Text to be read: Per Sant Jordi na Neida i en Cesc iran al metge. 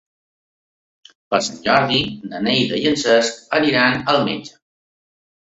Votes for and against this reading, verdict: 0, 2, rejected